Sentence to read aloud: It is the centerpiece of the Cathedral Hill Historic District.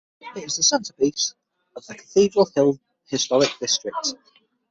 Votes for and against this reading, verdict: 3, 6, rejected